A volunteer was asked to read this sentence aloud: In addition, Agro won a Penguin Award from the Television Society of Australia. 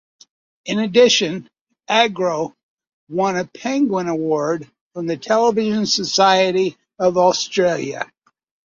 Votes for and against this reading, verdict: 3, 0, accepted